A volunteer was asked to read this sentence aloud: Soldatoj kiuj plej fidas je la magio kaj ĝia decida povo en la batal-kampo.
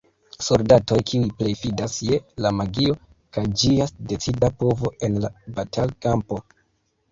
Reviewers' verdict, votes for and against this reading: accepted, 2, 0